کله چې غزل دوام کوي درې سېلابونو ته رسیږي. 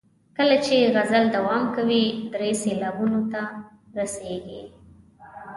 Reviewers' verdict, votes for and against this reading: accepted, 2, 0